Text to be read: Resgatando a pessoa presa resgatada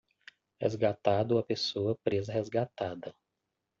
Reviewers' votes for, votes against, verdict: 0, 2, rejected